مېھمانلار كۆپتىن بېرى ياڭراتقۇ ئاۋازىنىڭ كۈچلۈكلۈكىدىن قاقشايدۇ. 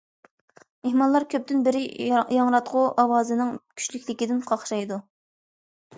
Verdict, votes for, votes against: rejected, 1, 2